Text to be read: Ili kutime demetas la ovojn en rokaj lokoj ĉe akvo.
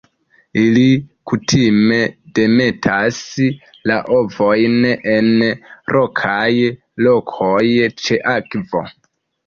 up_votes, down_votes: 1, 2